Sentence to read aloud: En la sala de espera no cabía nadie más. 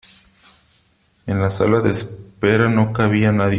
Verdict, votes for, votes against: rejected, 0, 3